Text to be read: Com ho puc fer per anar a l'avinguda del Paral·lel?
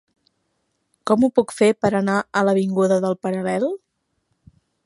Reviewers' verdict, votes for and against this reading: accepted, 5, 1